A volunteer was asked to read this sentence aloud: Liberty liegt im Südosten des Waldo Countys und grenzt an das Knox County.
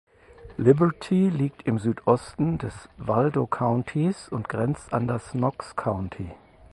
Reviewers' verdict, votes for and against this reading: accepted, 4, 0